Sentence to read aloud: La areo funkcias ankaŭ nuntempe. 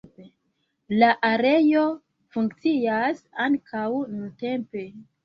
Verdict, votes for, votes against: rejected, 1, 2